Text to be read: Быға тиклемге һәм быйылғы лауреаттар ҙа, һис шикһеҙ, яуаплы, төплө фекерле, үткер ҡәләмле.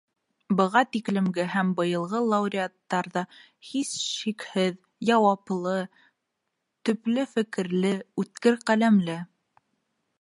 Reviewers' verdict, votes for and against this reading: rejected, 1, 2